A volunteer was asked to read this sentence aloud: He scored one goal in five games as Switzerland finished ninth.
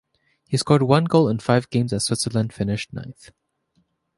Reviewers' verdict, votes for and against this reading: accepted, 3, 0